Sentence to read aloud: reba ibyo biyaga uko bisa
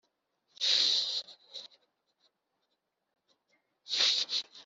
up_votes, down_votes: 0, 2